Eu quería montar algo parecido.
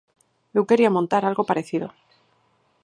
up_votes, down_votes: 4, 0